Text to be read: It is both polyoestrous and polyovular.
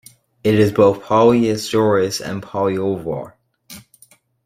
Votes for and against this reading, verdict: 1, 2, rejected